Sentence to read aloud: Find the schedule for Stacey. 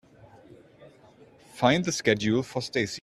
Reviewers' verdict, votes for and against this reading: accepted, 2, 0